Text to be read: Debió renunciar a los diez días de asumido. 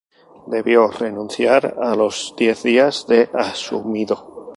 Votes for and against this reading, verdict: 0, 2, rejected